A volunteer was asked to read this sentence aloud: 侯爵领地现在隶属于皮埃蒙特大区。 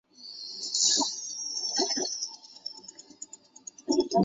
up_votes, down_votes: 1, 2